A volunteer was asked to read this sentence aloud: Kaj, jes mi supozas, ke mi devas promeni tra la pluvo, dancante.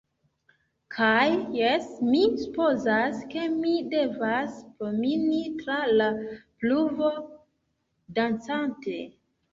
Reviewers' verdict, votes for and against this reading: rejected, 0, 2